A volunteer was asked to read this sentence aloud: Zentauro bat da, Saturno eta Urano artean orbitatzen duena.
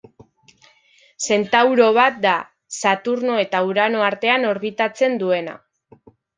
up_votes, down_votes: 2, 0